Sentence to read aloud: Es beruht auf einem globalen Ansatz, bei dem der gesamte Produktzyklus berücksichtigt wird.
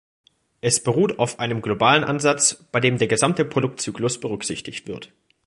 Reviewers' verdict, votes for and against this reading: accepted, 2, 0